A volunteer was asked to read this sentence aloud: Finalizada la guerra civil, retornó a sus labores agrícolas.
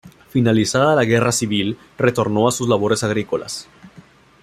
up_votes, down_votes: 2, 0